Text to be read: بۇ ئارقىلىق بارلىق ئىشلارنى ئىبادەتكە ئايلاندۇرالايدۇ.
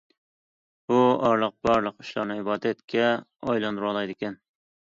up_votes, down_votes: 0, 2